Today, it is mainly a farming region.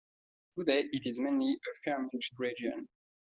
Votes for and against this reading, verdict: 0, 2, rejected